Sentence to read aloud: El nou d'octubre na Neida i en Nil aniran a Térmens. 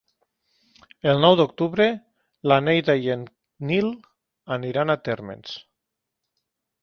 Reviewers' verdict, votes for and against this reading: rejected, 1, 3